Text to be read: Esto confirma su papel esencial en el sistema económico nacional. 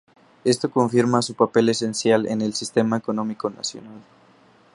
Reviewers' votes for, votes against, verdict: 2, 2, rejected